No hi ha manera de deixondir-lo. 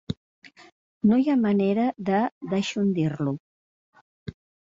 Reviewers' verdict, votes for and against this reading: rejected, 1, 2